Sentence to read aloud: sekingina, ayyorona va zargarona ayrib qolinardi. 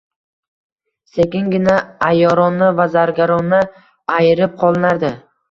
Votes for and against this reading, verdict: 1, 2, rejected